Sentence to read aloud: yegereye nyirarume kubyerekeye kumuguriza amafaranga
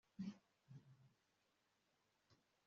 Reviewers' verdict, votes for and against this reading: rejected, 1, 2